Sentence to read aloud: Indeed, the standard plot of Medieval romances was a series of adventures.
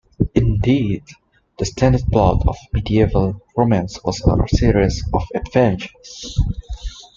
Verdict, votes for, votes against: accepted, 2, 1